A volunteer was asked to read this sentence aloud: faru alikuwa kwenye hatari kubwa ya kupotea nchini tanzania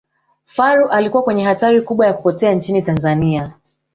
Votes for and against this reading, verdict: 0, 2, rejected